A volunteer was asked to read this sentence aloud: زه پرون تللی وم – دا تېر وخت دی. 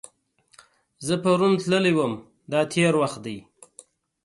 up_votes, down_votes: 2, 0